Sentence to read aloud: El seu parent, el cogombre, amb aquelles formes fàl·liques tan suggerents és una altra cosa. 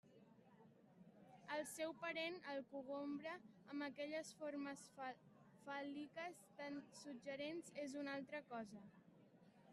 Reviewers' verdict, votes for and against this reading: rejected, 0, 2